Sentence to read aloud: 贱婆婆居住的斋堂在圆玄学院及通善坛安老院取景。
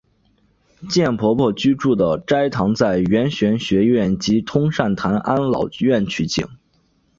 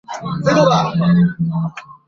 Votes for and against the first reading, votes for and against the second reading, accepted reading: 2, 0, 0, 2, first